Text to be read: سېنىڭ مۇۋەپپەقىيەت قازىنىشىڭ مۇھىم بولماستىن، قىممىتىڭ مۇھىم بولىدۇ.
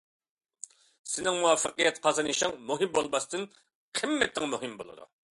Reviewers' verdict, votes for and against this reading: accepted, 2, 0